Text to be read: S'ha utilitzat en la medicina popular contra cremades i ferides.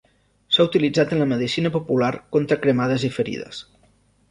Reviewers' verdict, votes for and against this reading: accepted, 3, 0